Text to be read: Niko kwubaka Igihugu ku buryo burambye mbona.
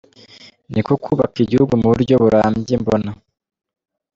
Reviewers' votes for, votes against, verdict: 2, 0, accepted